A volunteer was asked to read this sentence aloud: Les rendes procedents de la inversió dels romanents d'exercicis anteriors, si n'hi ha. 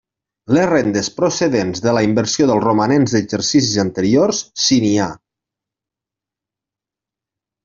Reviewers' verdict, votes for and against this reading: accepted, 3, 0